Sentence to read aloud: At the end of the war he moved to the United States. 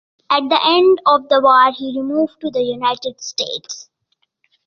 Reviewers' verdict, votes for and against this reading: accepted, 2, 0